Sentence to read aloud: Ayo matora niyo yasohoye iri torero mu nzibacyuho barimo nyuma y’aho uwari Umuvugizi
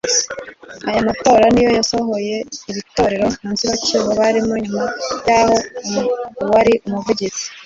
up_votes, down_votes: 1, 2